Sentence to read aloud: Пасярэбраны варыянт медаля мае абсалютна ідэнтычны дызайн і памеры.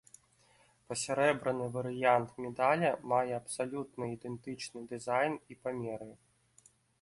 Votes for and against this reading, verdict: 1, 2, rejected